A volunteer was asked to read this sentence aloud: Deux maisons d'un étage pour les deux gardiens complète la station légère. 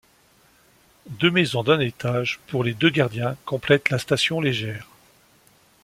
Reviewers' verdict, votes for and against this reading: accepted, 2, 0